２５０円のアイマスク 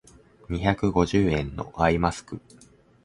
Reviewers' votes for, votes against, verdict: 0, 2, rejected